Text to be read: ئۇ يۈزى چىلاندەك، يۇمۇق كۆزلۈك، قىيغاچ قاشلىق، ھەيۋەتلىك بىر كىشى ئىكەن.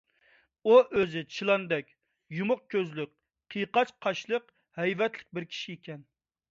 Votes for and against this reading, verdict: 1, 2, rejected